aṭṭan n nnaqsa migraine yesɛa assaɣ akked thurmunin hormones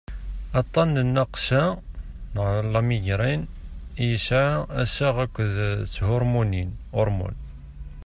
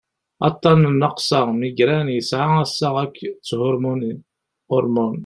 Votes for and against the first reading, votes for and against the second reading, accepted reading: 0, 2, 2, 1, second